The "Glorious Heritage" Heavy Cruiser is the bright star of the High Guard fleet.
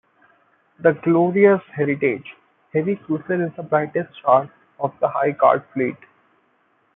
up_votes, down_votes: 0, 2